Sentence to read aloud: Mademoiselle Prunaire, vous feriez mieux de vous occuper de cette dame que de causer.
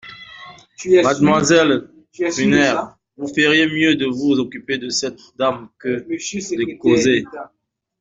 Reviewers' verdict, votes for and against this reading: rejected, 0, 2